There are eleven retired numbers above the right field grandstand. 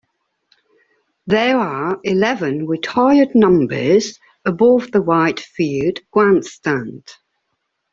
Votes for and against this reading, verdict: 2, 0, accepted